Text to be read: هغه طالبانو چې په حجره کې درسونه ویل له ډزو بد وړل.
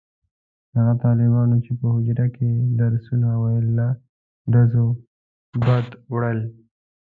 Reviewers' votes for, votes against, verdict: 1, 2, rejected